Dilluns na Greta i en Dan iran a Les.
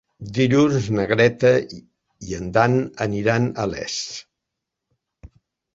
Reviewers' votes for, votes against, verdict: 2, 1, accepted